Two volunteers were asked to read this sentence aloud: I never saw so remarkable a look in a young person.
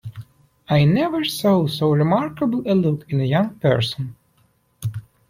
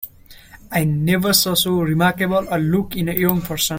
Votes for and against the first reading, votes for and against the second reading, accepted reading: 2, 0, 1, 2, first